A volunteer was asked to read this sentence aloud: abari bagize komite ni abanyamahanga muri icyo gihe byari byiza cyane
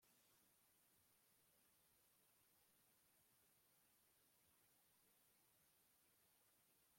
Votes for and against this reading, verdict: 1, 2, rejected